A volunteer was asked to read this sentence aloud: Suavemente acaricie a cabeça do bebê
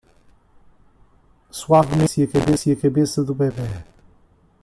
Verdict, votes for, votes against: rejected, 0, 2